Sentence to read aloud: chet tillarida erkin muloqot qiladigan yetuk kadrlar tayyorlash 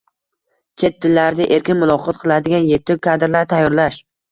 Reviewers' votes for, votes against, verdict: 1, 2, rejected